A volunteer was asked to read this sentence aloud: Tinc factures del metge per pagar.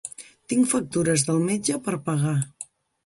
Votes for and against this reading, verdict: 3, 0, accepted